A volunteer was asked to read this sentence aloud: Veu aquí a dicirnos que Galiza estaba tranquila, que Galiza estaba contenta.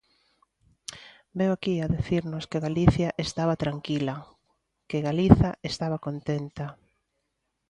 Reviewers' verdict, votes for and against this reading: rejected, 1, 2